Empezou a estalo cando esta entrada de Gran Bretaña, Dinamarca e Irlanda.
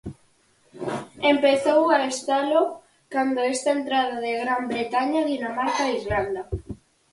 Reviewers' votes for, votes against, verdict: 6, 0, accepted